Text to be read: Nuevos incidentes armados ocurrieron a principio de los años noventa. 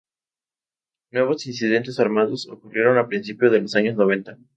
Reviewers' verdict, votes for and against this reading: accepted, 2, 0